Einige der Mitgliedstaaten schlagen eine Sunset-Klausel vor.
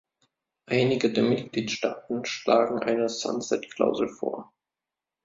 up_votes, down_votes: 2, 0